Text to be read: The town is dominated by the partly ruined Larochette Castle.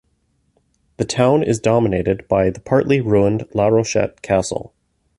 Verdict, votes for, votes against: rejected, 1, 2